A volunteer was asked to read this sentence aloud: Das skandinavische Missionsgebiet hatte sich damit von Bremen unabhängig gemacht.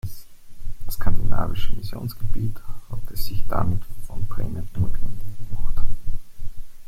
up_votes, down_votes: 1, 2